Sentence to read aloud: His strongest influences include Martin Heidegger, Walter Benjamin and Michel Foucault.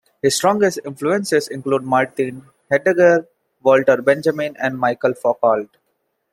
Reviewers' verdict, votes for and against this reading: accepted, 2, 0